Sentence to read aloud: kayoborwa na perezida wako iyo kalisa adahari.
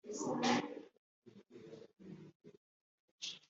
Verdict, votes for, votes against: rejected, 0, 2